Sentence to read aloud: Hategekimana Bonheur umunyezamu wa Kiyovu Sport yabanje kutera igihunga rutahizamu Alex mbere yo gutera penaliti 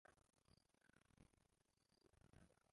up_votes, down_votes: 0, 2